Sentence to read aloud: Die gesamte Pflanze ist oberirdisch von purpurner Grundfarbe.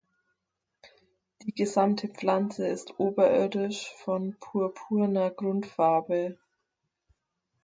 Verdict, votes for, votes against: rejected, 2, 4